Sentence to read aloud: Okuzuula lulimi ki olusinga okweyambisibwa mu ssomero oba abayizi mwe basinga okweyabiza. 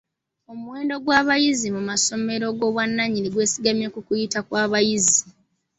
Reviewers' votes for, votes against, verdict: 0, 2, rejected